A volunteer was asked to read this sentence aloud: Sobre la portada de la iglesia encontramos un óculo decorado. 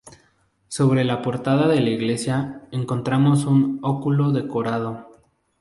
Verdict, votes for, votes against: accepted, 6, 0